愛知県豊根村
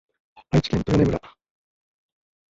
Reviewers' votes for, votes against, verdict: 0, 2, rejected